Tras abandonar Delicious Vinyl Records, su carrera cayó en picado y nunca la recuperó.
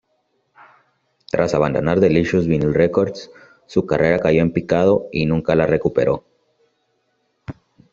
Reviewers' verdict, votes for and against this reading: accepted, 2, 0